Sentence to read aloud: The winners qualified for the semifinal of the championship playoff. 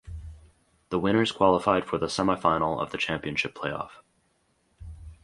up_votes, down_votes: 4, 0